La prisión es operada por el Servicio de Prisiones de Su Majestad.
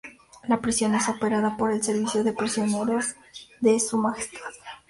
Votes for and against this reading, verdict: 2, 2, rejected